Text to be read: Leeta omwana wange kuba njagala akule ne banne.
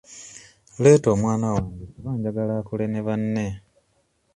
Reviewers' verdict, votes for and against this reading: accepted, 3, 0